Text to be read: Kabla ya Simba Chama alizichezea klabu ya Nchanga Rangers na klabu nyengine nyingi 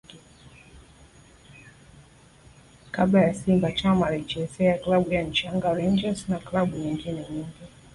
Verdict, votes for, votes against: rejected, 1, 2